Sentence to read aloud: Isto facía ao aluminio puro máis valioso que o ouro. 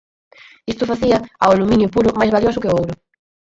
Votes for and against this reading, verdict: 0, 4, rejected